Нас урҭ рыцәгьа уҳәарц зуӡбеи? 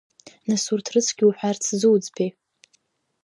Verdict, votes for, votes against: accepted, 2, 0